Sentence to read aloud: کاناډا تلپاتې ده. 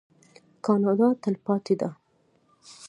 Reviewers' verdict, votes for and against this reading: accepted, 2, 0